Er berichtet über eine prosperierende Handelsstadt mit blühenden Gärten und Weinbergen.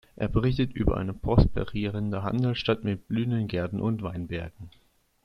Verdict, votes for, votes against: accepted, 2, 0